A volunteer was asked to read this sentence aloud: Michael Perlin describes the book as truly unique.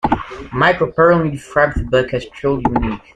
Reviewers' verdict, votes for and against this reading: rejected, 0, 2